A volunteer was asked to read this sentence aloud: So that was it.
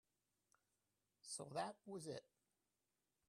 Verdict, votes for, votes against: rejected, 0, 2